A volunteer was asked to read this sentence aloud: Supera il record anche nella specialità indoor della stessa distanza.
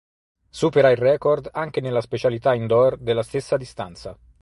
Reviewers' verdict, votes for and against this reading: accepted, 4, 0